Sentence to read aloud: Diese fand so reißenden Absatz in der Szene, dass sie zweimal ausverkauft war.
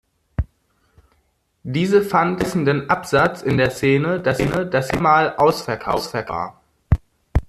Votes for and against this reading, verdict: 0, 2, rejected